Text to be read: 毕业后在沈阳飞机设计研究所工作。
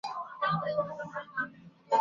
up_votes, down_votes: 1, 2